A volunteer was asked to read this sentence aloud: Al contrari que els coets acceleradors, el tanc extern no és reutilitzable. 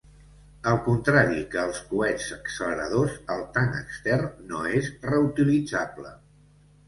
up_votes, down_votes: 2, 0